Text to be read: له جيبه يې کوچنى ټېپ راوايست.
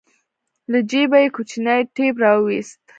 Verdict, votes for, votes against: accepted, 2, 1